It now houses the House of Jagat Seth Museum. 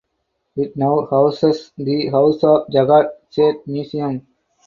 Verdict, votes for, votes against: accepted, 4, 0